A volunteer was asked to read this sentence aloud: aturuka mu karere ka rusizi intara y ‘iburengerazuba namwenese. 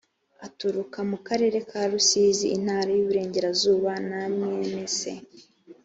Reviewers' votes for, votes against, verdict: 3, 0, accepted